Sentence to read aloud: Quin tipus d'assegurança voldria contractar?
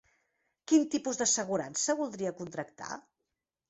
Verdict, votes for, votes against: accepted, 3, 0